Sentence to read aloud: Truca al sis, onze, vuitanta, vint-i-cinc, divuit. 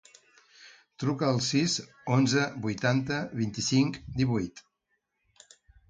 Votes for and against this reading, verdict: 4, 0, accepted